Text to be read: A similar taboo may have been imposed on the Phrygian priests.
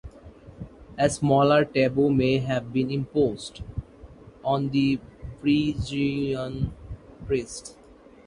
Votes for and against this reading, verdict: 0, 2, rejected